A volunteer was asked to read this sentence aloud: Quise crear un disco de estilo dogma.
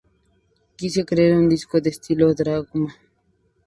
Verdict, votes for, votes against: rejected, 0, 2